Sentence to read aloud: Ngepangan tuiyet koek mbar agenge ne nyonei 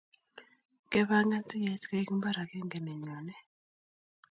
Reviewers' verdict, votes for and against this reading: rejected, 1, 2